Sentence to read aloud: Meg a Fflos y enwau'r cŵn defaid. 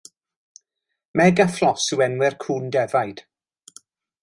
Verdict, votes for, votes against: rejected, 0, 2